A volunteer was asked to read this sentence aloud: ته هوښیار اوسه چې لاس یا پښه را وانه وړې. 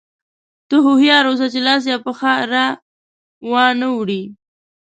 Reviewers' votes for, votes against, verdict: 0, 2, rejected